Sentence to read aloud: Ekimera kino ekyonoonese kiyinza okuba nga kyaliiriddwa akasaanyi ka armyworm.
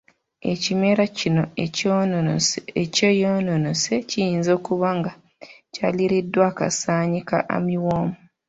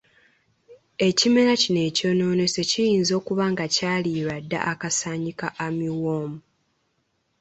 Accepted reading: second